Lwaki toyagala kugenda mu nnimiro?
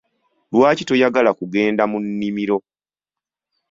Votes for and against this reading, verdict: 2, 0, accepted